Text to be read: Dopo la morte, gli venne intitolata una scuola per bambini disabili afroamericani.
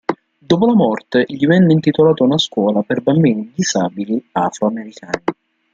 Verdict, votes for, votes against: accepted, 2, 0